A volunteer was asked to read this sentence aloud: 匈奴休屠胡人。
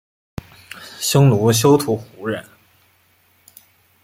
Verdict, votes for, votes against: accepted, 2, 0